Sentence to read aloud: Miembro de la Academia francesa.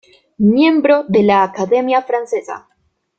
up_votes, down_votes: 2, 0